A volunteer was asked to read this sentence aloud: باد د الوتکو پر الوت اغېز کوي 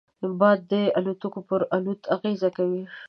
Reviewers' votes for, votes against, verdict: 2, 0, accepted